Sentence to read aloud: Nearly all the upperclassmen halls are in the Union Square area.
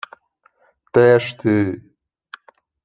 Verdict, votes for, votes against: rejected, 0, 2